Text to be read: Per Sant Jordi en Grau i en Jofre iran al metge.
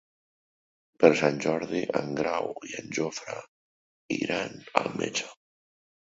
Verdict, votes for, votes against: accepted, 3, 1